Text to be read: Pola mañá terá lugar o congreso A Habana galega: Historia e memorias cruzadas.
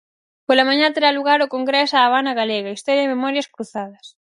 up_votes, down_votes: 4, 0